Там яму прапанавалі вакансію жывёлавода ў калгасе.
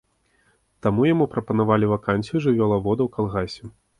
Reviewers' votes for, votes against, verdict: 1, 2, rejected